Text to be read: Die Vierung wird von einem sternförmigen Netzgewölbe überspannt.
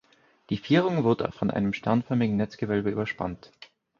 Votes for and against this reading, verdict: 2, 4, rejected